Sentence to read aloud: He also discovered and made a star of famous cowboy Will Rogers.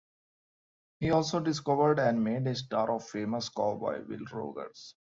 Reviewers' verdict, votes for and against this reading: rejected, 1, 2